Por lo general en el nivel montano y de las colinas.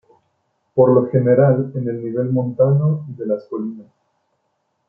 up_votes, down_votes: 0, 2